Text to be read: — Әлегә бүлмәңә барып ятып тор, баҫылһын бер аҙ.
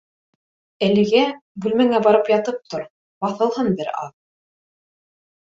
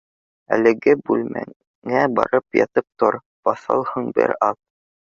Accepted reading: first